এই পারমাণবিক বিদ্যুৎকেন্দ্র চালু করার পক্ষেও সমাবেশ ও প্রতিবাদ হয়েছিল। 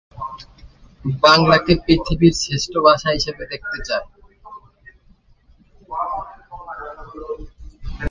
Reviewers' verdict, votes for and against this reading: rejected, 1, 6